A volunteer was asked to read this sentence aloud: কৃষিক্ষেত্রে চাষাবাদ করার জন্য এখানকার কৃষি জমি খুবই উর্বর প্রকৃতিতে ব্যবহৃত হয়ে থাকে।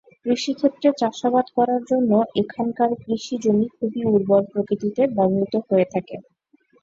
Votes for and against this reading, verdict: 3, 0, accepted